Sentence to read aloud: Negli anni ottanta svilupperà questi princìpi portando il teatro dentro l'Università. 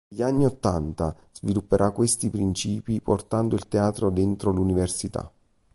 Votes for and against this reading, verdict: 0, 2, rejected